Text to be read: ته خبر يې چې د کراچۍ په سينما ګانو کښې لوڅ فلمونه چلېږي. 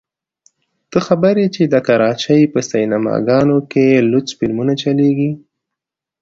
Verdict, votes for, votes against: accepted, 2, 0